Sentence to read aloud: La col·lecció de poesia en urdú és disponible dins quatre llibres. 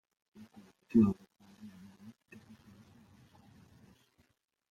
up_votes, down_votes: 0, 2